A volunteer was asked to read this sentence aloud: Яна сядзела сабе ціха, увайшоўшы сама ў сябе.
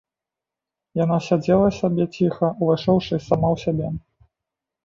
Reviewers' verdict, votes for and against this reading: rejected, 0, 2